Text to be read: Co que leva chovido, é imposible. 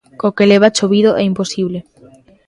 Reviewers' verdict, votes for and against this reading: accepted, 2, 0